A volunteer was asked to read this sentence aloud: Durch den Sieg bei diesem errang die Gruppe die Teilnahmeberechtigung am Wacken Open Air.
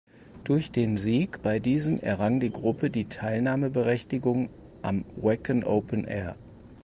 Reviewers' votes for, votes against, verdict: 2, 4, rejected